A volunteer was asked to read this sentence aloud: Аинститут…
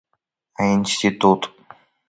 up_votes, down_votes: 2, 0